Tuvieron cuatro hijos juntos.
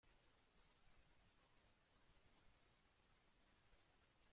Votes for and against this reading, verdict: 1, 2, rejected